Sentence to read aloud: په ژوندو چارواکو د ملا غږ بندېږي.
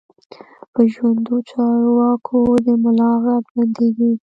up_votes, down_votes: 1, 2